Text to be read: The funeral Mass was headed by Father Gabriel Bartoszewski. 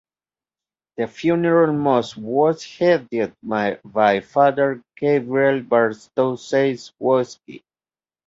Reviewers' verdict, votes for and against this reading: rejected, 0, 2